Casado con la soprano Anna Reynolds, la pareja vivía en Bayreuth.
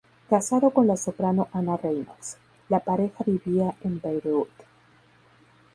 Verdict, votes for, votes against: accepted, 2, 0